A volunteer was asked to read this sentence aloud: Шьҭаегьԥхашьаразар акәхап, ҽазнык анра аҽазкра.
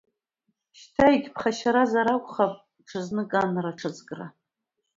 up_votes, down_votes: 2, 0